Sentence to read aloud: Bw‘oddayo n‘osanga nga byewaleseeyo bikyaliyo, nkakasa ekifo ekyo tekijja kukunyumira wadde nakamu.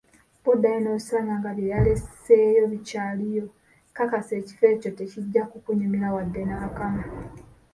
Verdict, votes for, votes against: rejected, 0, 2